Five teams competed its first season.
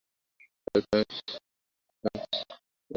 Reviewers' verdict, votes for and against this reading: rejected, 0, 2